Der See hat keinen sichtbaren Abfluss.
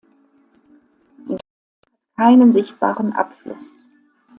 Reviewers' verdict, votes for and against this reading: rejected, 0, 2